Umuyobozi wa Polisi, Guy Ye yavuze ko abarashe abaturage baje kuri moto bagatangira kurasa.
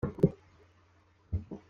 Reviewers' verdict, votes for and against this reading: rejected, 0, 2